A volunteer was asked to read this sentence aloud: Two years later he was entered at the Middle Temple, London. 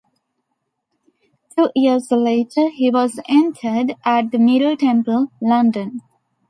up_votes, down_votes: 2, 0